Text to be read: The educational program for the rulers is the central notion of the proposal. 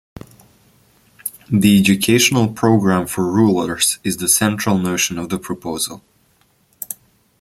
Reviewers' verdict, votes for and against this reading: accepted, 3, 2